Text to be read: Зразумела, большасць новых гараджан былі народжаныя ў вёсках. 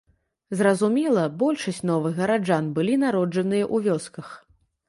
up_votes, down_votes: 2, 0